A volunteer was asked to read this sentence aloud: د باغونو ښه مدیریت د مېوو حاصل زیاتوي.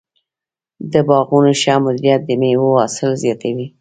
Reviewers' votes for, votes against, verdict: 2, 1, accepted